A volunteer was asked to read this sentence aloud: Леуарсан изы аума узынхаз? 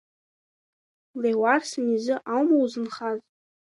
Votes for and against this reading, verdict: 3, 1, accepted